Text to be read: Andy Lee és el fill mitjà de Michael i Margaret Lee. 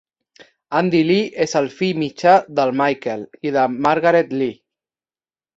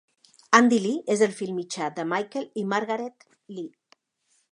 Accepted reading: second